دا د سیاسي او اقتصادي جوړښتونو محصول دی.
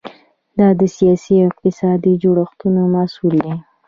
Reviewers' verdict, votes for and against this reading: rejected, 0, 2